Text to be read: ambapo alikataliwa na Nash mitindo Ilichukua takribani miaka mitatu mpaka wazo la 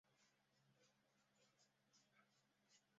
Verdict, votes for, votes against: rejected, 0, 2